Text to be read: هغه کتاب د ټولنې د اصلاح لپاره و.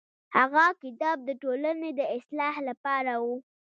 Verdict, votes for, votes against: accepted, 2, 1